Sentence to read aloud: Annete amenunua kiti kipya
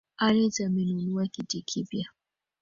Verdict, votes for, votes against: rejected, 1, 2